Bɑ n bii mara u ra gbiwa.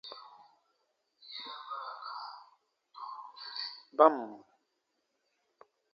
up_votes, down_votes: 0, 2